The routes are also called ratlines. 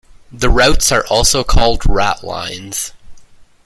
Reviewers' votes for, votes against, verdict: 2, 0, accepted